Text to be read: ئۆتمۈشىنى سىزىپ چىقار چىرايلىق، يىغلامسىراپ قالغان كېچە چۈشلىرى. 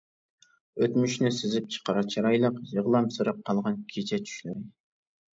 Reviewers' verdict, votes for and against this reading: accepted, 2, 0